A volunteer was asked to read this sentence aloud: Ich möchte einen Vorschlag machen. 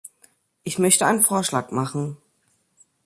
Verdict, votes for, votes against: accepted, 2, 0